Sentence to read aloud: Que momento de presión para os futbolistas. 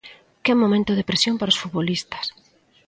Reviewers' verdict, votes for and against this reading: accepted, 2, 0